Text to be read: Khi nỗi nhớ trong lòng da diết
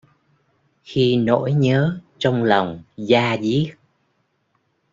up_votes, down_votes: 2, 0